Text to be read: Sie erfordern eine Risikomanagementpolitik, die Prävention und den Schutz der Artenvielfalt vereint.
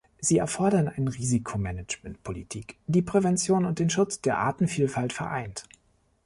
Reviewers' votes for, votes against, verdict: 1, 2, rejected